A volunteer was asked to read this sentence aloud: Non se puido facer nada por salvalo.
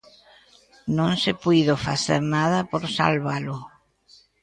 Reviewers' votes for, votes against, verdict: 2, 0, accepted